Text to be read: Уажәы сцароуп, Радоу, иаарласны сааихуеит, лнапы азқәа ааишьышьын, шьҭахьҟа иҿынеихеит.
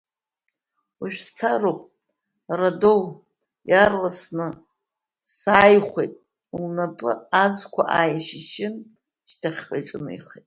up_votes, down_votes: 0, 2